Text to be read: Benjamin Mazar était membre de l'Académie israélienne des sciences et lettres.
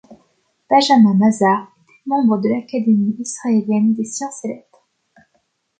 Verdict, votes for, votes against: rejected, 0, 2